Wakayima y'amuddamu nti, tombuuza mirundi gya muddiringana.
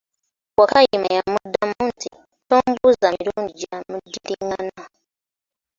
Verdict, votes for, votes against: accepted, 2, 0